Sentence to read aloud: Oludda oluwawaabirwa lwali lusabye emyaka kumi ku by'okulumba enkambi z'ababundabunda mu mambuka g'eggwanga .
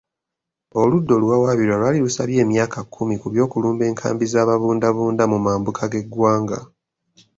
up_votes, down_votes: 4, 0